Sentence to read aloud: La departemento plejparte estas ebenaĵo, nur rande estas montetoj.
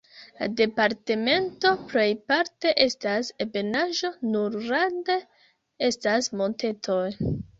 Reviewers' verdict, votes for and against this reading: rejected, 0, 2